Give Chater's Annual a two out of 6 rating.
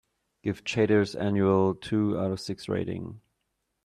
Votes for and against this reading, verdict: 0, 2, rejected